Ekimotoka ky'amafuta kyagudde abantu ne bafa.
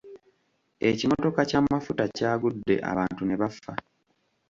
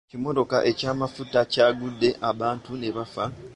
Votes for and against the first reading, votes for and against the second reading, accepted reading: 2, 1, 1, 2, first